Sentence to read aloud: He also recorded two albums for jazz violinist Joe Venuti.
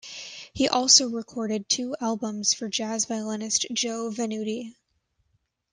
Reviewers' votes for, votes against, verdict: 2, 0, accepted